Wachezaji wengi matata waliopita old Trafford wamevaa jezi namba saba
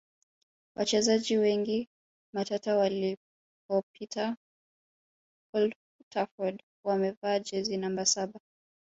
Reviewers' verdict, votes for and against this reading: rejected, 0, 2